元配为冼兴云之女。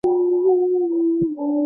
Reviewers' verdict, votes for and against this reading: rejected, 0, 5